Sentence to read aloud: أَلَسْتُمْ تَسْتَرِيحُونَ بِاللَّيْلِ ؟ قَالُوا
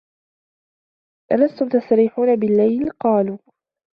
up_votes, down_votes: 2, 0